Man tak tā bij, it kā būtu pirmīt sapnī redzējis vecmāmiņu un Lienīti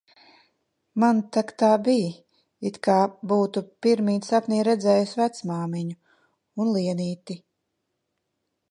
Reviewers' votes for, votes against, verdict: 2, 0, accepted